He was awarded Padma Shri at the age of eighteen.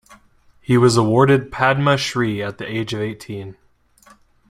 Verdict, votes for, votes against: accepted, 2, 0